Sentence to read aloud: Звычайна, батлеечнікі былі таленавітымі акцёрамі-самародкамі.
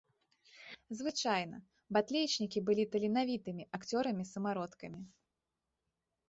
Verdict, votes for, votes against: rejected, 0, 2